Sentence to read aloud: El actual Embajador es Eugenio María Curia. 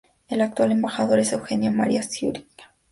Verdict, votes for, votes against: rejected, 0, 2